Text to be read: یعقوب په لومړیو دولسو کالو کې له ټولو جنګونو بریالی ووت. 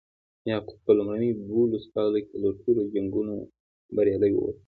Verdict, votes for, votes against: rejected, 1, 2